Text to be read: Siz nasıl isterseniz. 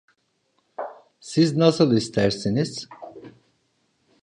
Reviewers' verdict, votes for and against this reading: rejected, 0, 2